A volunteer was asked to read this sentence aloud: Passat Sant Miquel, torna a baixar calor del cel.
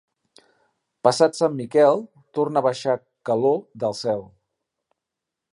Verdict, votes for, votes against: accepted, 2, 0